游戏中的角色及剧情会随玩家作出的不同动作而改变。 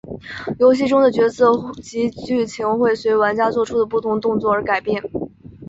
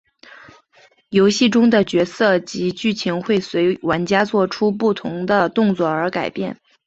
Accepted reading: second